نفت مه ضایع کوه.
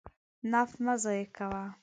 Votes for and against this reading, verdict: 2, 0, accepted